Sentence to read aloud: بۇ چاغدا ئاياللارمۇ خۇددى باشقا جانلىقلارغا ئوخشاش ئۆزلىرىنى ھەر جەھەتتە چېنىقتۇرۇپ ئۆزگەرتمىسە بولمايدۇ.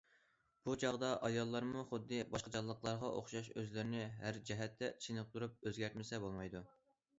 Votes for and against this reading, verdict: 2, 0, accepted